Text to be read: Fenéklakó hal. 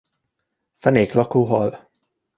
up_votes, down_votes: 2, 0